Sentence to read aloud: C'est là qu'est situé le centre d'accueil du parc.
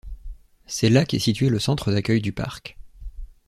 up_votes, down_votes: 2, 0